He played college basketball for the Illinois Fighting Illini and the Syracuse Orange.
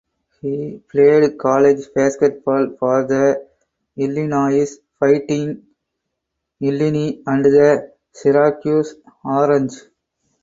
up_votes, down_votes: 4, 2